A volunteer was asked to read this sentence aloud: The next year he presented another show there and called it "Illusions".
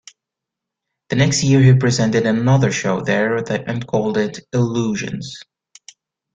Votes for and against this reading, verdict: 1, 2, rejected